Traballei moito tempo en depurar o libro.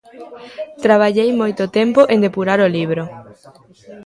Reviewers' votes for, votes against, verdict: 0, 2, rejected